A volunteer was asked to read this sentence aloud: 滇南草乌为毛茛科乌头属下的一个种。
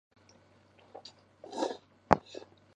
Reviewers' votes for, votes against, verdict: 0, 3, rejected